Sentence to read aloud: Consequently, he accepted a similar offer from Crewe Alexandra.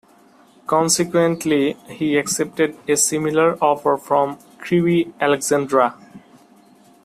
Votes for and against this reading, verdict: 2, 0, accepted